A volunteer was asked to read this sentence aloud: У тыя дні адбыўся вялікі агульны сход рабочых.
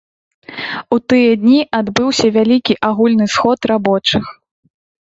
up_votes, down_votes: 2, 0